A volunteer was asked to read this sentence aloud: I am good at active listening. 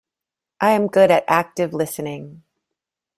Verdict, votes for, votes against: accepted, 2, 0